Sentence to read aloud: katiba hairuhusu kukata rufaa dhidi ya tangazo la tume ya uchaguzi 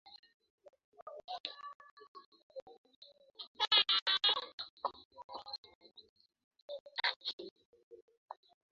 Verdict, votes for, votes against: rejected, 0, 2